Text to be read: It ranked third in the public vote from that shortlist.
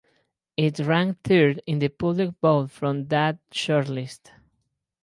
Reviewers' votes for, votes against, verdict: 0, 4, rejected